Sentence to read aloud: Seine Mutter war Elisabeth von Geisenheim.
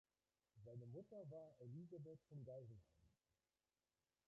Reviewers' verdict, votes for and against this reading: rejected, 0, 2